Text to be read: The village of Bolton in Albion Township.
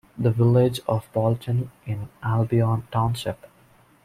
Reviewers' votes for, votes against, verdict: 2, 0, accepted